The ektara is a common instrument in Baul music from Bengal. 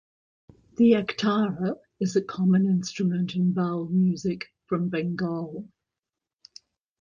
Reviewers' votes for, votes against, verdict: 2, 0, accepted